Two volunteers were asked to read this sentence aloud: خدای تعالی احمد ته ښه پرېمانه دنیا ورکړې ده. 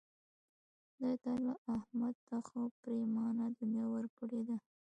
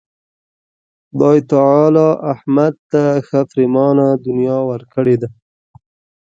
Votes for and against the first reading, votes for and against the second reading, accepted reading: 1, 2, 2, 0, second